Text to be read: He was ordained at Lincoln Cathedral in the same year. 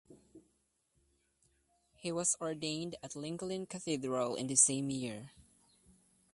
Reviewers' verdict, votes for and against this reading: rejected, 1, 2